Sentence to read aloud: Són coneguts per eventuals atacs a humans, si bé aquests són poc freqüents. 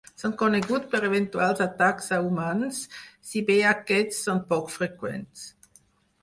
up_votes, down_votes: 4, 0